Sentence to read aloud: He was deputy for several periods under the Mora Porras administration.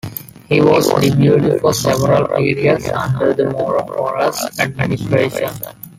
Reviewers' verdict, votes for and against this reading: accepted, 2, 1